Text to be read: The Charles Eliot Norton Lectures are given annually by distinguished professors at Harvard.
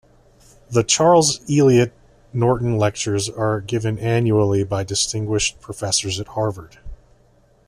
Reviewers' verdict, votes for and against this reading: rejected, 1, 2